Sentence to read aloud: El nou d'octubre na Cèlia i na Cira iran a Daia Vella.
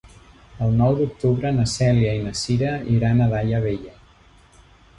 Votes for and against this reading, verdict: 1, 2, rejected